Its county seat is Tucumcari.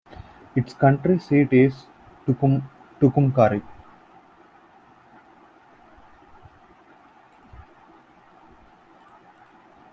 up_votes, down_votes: 1, 2